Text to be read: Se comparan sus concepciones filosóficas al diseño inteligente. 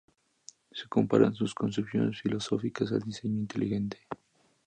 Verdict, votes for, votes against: accepted, 2, 0